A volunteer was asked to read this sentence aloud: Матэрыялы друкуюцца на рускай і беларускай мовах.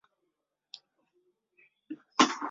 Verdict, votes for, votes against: rejected, 0, 2